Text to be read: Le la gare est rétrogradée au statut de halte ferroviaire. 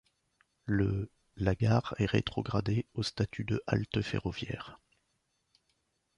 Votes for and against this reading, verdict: 2, 0, accepted